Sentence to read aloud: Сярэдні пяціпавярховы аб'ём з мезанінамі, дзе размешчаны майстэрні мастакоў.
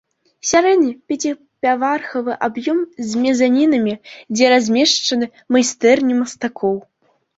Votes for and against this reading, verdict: 0, 2, rejected